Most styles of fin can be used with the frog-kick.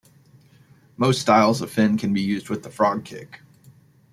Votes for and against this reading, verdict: 1, 2, rejected